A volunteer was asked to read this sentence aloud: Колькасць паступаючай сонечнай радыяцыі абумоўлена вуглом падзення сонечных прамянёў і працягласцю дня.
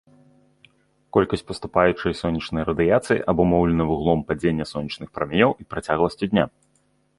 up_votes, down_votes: 2, 0